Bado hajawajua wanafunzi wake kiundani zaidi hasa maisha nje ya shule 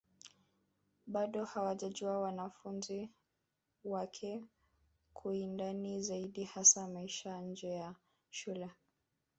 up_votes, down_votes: 1, 3